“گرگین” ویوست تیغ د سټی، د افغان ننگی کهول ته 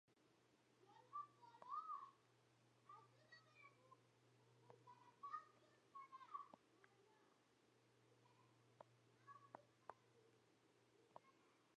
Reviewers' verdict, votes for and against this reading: rejected, 0, 2